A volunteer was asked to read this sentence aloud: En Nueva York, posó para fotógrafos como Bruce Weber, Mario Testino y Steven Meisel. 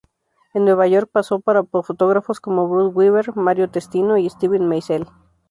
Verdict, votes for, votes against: rejected, 0, 2